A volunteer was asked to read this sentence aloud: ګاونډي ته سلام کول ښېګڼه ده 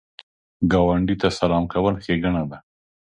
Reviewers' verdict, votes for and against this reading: accepted, 2, 0